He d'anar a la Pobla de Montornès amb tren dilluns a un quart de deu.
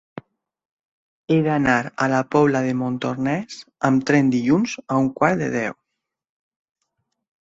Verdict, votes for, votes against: accepted, 3, 0